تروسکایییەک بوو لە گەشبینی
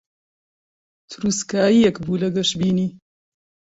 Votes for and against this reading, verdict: 1, 2, rejected